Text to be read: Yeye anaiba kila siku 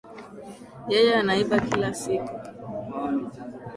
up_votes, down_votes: 8, 1